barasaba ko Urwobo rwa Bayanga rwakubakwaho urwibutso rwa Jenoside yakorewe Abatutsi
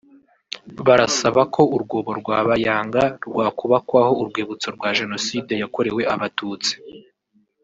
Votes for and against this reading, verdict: 1, 2, rejected